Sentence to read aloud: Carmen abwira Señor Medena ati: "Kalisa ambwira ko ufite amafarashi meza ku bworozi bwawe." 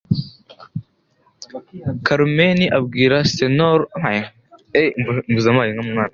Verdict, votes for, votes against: rejected, 0, 2